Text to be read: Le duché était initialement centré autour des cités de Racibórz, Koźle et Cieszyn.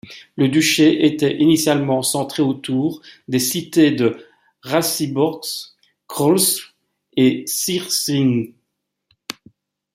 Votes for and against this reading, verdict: 1, 2, rejected